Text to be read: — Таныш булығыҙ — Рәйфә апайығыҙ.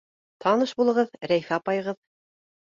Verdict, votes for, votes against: accepted, 2, 0